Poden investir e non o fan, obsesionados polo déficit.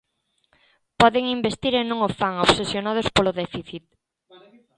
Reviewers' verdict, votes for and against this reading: rejected, 1, 2